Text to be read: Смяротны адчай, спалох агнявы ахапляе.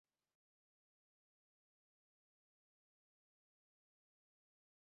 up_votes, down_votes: 0, 2